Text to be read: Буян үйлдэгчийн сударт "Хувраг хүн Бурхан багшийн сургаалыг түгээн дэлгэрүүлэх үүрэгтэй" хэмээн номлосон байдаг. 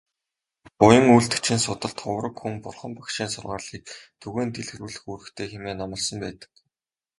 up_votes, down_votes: 2, 0